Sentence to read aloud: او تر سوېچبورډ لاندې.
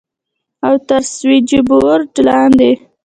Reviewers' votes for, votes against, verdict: 2, 1, accepted